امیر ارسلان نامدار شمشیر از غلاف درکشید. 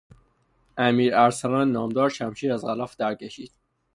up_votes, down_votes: 3, 0